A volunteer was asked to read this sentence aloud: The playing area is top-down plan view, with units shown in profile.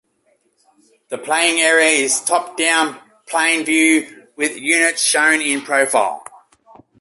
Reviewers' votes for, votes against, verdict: 2, 1, accepted